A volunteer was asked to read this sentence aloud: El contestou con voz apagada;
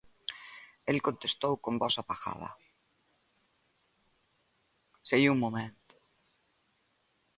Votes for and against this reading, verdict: 0, 3, rejected